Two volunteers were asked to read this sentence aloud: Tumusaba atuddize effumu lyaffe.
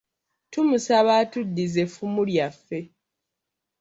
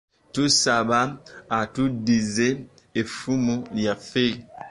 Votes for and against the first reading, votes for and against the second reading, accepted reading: 2, 1, 3, 4, first